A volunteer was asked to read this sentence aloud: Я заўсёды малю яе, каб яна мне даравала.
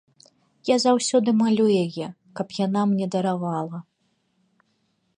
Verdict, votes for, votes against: accepted, 2, 0